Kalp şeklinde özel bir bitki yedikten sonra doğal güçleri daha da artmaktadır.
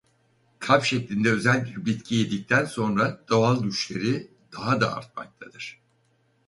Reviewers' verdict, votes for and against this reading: rejected, 2, 2